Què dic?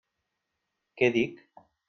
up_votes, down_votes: 3, 0